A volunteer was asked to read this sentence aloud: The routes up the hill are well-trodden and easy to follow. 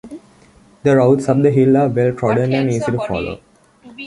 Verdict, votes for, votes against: rejected, 1, 2